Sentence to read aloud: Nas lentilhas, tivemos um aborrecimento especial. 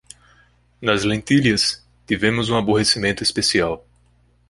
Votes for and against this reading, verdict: 2, 0, accepted